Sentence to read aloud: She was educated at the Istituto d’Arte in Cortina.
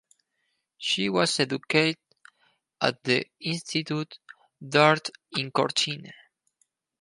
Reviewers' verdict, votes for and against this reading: rejected, 0, 4